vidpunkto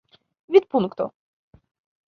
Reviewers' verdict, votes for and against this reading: accepted, 2, 0